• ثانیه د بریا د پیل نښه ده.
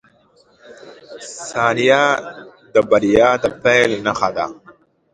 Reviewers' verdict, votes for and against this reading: rejected, 1, 2